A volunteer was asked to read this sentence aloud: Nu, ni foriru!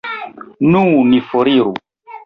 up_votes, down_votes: 0, 2